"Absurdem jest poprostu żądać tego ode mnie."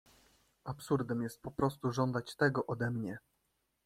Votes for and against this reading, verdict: 2, 0, accepted